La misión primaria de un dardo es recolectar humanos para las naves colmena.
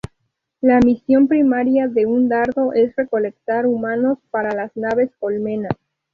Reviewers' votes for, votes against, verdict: 4, 0, accepted